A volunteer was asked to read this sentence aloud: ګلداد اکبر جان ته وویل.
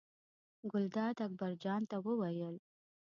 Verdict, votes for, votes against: accepted, 2, 0